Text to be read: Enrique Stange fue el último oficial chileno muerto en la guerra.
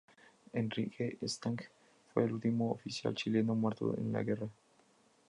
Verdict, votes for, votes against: accepted, 2, 0